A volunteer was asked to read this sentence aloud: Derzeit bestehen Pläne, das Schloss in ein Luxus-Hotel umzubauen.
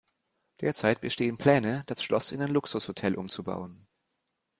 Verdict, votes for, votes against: accepted, 2, 0